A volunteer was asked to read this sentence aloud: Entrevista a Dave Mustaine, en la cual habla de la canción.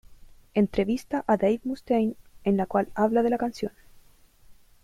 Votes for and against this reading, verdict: 1, 2, rejected